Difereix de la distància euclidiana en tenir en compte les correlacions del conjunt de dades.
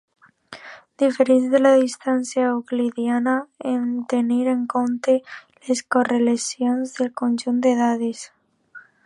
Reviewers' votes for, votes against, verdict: 2, 1, accepted